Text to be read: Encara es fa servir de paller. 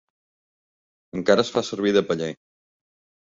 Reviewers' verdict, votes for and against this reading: accepted, 2, 0